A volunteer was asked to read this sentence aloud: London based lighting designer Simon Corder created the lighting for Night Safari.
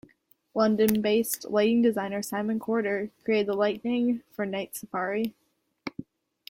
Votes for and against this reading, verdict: 0, 2, rejected